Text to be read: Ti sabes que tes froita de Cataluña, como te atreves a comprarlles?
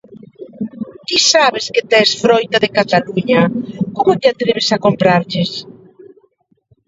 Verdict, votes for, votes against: rejected, 1, 2